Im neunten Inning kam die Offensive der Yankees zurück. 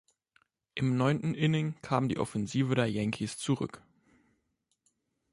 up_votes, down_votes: 2, 0